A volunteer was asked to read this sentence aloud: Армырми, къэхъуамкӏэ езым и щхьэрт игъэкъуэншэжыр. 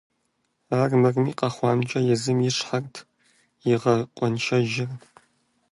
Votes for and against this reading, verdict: 2, 0, accepted